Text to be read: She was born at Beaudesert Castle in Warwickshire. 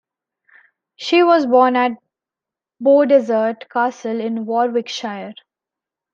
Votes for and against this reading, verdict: 1, 2, rejected